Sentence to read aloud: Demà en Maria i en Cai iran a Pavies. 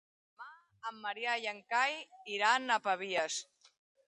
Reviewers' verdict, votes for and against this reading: rejected, 1, 3